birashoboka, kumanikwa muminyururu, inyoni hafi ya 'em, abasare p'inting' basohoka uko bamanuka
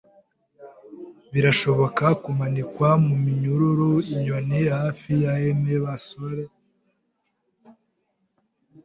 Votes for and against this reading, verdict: 0, 2, rejected